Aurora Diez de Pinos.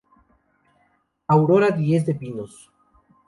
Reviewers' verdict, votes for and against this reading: accepted, 2, 0